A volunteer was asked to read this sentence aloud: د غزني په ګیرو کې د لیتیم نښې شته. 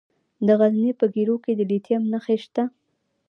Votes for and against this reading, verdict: 2, 0, accepted